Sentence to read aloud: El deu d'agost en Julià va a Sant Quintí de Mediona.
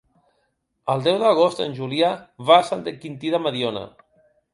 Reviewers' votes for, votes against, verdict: 1, 2, rejected